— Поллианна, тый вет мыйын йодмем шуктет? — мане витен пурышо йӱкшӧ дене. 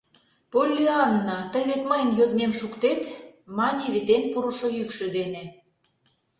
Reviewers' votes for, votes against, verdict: 2, 0, accepted